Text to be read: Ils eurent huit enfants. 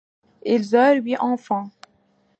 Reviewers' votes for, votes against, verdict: 0, 2, rejected